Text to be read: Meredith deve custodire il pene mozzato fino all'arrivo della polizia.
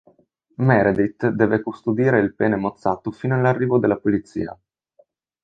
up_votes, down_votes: 4, 0